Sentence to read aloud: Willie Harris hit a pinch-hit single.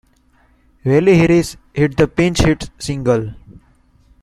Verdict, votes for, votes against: rejected, 1, 2